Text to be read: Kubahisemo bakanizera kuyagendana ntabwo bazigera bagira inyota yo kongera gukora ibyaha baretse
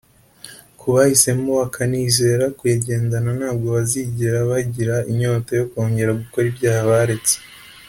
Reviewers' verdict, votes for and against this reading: accepted, 2, 0